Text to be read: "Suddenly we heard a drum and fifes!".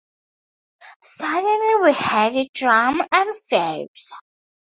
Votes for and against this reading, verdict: 2, 0, accepted